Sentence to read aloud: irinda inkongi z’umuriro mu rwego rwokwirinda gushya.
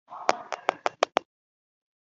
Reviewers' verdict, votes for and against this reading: rejected, 0, 2